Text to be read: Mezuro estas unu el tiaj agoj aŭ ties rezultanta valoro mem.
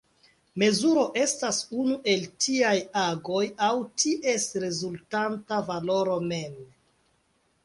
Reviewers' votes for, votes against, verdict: 2, 1, accepted